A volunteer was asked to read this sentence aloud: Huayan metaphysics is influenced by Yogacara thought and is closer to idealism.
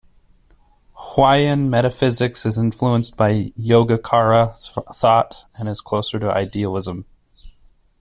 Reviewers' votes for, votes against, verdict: 1, 2, rejected